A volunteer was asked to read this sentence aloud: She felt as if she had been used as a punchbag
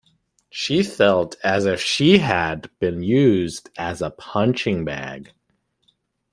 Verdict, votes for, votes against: rejected, 1, 2